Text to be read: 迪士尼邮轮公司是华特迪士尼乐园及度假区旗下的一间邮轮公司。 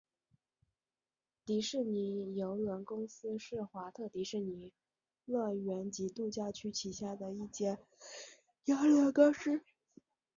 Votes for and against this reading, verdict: 1, 2, rejected